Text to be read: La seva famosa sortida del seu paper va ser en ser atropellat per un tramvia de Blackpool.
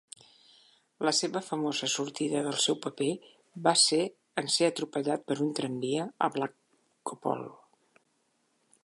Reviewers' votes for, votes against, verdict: 1, 2, rejected